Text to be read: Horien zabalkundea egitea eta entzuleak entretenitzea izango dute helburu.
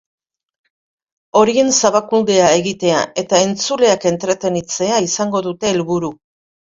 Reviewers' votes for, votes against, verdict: 1, 2, rejected